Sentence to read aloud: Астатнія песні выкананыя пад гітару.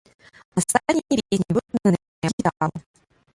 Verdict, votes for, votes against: rejected, 0, 2